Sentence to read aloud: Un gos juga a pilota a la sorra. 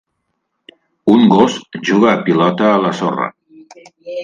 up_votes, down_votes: 5, 0